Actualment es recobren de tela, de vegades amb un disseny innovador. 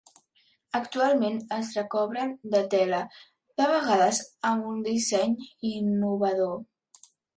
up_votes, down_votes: 3, 0